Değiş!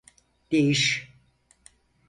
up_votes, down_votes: 4, 0